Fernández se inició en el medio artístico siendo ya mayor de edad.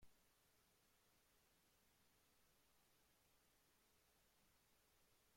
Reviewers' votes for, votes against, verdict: 0, 2, rejected